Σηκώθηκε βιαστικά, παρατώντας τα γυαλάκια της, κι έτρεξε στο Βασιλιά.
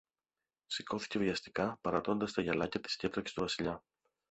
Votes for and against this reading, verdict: 1, 2, rejected